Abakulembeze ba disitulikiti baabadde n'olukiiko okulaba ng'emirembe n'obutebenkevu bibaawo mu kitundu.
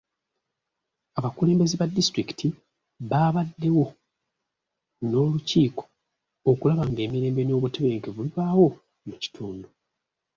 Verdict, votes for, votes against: rejected, 1, 2